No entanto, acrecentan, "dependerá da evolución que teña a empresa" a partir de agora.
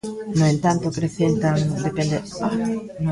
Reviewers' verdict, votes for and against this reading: rejected, 0, 2